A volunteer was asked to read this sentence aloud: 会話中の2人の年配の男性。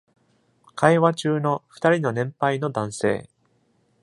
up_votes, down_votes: 0, 2